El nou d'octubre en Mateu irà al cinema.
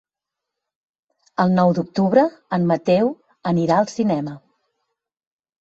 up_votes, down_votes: 1, 2